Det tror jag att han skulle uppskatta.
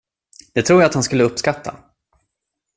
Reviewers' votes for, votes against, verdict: 2, 0, accepted